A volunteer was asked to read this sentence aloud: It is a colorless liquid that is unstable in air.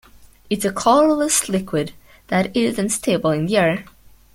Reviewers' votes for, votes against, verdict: 2, 0, accepted